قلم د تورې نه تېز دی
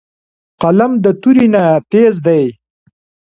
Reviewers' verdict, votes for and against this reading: accepted, 2, 0